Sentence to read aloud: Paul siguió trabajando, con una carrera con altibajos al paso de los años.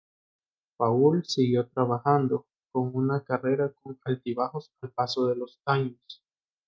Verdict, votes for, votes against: rejected, 0, 2